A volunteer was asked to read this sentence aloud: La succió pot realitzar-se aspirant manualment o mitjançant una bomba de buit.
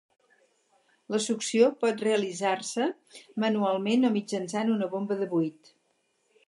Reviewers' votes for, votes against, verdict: 0, 4, rejected